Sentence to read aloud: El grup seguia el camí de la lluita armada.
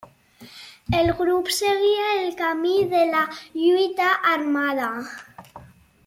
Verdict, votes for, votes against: accepted, 3, 0